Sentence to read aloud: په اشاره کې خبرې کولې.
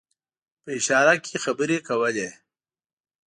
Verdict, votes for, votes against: accepted, 2, 0